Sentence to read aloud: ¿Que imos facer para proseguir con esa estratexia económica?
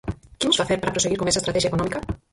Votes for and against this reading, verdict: 0, 4, rejected